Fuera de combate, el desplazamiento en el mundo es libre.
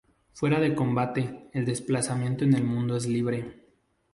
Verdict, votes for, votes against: accepted, 4, 0